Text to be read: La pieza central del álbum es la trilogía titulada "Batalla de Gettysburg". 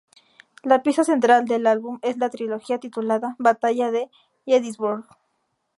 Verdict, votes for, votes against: accepted, 2, 0